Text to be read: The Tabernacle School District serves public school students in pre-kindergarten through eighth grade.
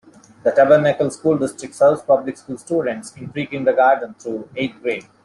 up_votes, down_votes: 2, 1